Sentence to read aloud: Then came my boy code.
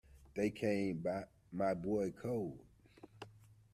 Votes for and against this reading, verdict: 1, 2, rejected